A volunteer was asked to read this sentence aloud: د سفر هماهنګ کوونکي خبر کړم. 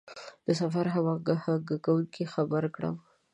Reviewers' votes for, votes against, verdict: 1, 2, rejected